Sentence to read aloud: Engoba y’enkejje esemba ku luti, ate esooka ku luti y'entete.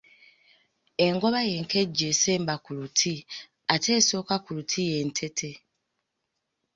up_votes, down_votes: 2, 0